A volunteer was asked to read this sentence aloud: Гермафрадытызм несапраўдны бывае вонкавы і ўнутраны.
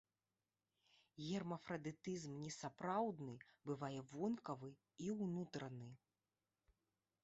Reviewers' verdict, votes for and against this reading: accepted, 2, 0